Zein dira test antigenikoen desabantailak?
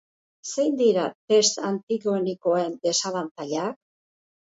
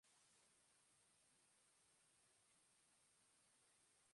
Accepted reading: first